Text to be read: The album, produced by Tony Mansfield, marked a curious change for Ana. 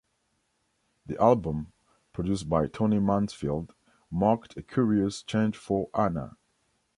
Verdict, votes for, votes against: accepted, 2, 0